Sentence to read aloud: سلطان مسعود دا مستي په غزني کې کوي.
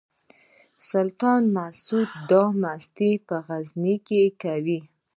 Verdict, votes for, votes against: accepted, 2, 0